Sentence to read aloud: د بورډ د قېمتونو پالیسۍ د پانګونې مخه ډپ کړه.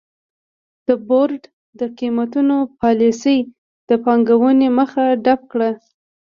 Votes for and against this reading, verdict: 0, 2, rejected